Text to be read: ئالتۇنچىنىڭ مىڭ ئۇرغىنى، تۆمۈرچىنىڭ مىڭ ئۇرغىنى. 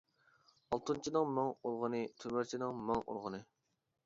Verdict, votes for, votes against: rejected, 1, 2